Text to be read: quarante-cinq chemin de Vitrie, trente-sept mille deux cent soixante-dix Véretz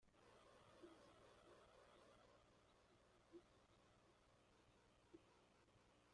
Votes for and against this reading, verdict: 0, 2, rejected